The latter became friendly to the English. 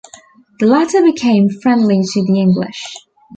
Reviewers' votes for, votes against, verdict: 2, 0, accepted